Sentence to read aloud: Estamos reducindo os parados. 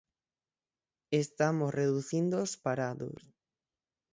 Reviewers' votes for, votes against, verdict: 6, 9, rejected